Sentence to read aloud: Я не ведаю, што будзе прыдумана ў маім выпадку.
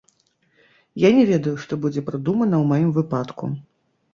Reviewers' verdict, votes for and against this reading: rejected, 1, 2